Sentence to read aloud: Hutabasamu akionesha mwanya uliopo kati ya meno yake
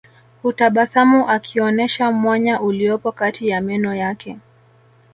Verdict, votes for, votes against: accepted, 2, 0